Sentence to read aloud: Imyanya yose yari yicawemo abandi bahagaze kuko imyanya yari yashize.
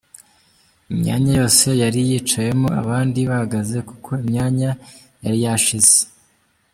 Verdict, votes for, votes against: rejected, 1, 2